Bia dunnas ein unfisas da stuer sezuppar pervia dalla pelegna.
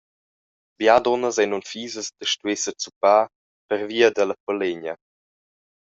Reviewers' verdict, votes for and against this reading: accepted, 2, 1